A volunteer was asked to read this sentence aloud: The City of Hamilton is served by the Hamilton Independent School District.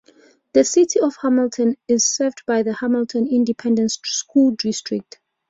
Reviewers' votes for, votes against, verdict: 2, 0, accepted